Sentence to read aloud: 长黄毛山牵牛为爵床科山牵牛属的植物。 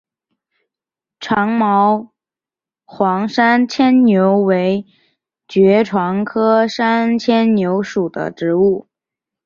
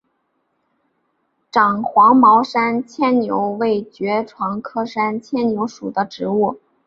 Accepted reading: second